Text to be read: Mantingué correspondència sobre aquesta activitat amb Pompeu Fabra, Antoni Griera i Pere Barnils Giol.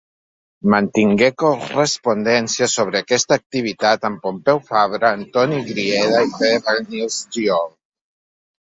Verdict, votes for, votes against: rejected, 2, 3